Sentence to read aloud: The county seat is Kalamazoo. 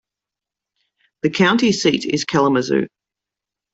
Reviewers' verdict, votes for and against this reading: accepted, 2, 0